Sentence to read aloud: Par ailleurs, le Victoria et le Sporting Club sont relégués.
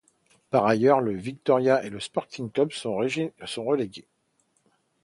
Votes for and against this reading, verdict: 0, 2, rejected